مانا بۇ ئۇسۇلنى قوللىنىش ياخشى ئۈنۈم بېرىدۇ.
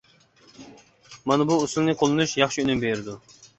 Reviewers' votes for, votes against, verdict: 2, 0, accepted